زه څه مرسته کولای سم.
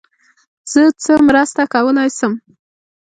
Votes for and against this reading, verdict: 2, 0, accepted